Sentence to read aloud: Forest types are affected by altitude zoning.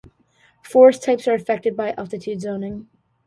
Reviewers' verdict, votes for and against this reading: accepted, 2, 0